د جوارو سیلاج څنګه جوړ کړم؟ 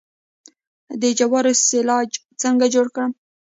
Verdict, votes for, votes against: accepted, 2, 0